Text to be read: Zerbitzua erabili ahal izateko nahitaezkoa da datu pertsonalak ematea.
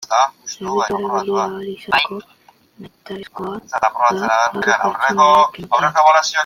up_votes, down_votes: 0, 2